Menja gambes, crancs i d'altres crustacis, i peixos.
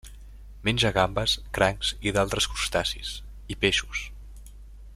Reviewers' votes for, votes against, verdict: 3, 0, accepted